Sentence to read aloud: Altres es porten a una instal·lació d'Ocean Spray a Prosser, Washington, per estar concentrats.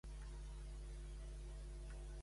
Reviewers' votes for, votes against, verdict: 0, 2, rejected